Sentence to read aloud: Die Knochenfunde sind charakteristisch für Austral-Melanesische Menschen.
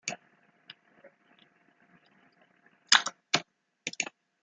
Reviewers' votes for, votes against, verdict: 0, 2, rejected